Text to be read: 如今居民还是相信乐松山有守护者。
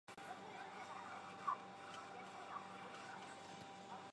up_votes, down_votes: 1, 2